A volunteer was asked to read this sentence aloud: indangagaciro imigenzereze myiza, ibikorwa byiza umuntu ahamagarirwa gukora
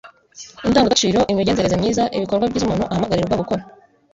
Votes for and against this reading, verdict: 0, 2, rejected